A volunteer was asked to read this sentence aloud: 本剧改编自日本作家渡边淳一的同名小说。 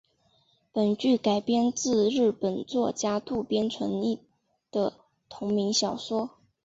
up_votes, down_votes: 2, 1